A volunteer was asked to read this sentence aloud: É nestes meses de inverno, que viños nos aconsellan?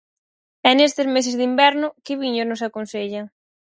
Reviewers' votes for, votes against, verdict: 0, 4, rejected